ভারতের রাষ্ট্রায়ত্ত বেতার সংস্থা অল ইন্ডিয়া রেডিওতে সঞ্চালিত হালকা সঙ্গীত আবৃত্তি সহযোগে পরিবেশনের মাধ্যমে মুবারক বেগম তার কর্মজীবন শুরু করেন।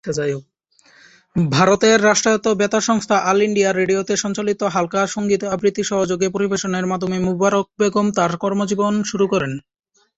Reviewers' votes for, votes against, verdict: 0, 2, rejected